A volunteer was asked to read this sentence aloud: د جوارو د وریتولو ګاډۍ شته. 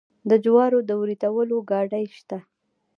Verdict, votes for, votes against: rejected, 1, 2